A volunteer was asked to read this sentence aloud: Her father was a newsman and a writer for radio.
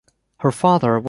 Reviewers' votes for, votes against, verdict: 0, 2, rejected